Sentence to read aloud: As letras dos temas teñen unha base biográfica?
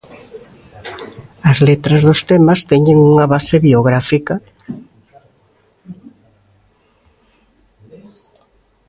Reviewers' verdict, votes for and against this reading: rejected, 1, 2